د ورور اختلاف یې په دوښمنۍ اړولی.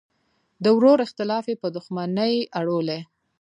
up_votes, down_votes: 2, 0